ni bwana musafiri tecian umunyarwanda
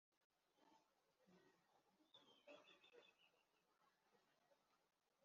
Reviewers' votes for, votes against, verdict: 0, 2, rejected